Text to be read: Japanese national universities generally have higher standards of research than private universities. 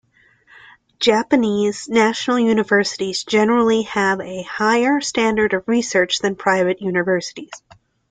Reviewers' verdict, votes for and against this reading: rejected, 1, 2